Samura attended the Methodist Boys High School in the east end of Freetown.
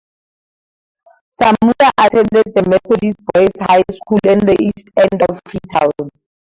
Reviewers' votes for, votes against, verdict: 2, 4, rejected